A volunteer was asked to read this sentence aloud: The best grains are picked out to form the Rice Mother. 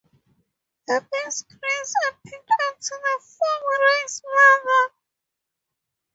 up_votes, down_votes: 2, 4